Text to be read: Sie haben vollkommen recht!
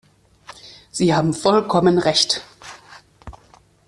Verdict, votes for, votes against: accepted, 2, 0